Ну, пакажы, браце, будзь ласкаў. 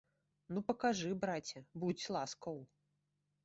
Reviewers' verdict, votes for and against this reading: accepted, 3, 0